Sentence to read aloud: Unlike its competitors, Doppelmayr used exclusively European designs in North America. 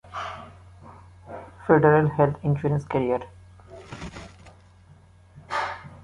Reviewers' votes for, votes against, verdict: 0, 2, rejected